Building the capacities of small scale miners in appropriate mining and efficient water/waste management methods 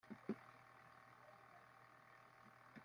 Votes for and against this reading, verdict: 0, 2, rejected